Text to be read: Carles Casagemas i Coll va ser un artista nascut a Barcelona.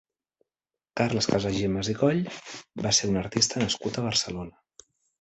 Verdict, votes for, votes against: rejected, 0, 2